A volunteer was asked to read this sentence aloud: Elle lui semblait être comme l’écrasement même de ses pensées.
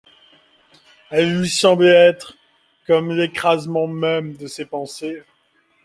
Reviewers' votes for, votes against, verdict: 2, 0, accepted